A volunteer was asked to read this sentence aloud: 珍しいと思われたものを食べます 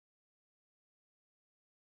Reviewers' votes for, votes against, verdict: 0, 2, rejected